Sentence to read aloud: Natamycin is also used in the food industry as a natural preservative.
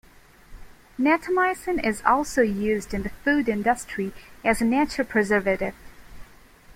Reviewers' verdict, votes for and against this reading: accepted, 2, 0